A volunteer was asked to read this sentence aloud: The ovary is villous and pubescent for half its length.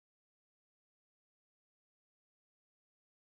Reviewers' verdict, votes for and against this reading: rejected, 0, 2